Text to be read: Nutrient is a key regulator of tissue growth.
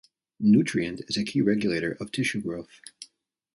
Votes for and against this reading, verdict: 2, 0, accepted